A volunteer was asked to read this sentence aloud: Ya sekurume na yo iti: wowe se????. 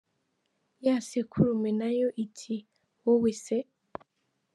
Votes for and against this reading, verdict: 2, 1, accepted